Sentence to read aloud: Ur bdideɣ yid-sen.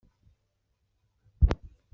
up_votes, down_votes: 1, 2